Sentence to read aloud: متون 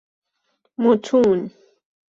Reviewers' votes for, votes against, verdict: 2, 0, accepted